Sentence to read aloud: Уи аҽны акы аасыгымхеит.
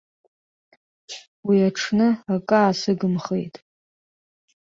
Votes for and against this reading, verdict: 2, 0, accepted